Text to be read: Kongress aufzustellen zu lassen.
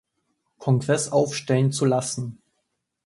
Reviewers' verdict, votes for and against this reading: rejected, 1, 2